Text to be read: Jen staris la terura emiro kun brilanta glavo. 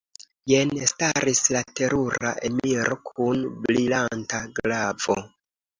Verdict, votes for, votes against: accepted, 2, 0